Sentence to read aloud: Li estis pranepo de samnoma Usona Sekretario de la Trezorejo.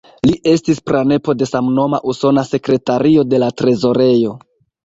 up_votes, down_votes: 2, 1